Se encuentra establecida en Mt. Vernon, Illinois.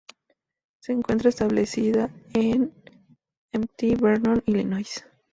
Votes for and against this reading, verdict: 0, 2, rejected